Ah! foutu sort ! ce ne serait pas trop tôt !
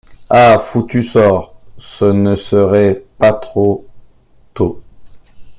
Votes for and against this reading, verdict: 1, 2, rejected